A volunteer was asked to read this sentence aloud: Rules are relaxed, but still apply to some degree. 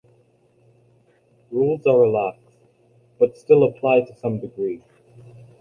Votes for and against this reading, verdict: 2, 1, accepted